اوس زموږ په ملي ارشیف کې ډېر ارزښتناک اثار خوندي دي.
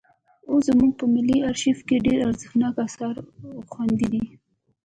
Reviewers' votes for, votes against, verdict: 1, 2, rejected